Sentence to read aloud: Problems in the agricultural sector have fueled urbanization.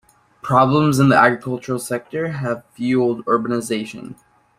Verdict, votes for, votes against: accepted, 2, 0